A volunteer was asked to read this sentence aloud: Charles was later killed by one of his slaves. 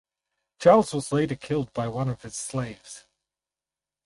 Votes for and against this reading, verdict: 4, 0, accepted